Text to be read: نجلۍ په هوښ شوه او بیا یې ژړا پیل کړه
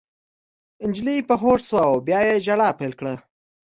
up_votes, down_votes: 2, 0